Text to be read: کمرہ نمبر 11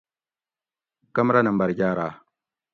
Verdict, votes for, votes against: rejected, 0, 2